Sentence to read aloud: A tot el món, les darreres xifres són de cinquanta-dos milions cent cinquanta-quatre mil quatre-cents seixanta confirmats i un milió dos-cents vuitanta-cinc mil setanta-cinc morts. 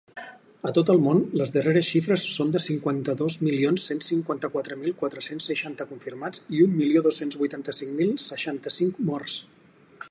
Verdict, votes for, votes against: rejected, 2, 4